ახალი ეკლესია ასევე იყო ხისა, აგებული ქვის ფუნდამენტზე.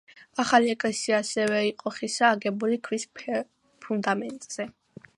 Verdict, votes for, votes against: accepted, 2, 0